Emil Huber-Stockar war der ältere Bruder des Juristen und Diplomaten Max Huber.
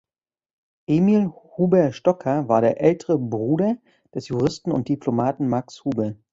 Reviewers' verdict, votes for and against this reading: accepted, 2, 0